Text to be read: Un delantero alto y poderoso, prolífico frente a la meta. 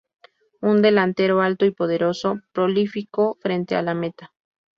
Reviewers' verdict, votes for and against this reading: accepted, 2, 0